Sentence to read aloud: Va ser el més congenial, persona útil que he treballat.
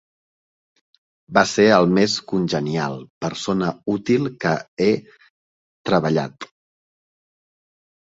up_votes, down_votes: 0, 2